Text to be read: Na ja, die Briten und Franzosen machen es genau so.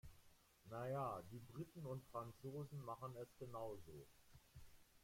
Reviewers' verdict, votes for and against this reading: accepted, 2, 1